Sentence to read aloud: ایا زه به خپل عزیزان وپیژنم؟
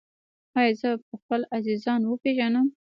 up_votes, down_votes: 2, 0